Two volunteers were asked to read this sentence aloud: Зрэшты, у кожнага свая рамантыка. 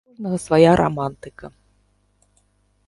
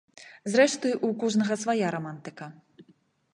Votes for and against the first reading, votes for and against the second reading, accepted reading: 1, 2, 2, 0, second